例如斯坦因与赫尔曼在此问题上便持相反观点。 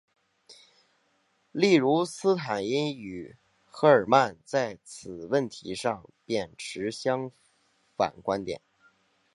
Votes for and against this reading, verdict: 2, 1, accepted